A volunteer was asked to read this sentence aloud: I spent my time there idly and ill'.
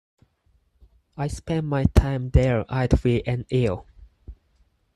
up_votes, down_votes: 4, 0